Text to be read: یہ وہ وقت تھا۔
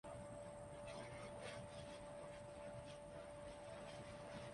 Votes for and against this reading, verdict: 0, 2, rejected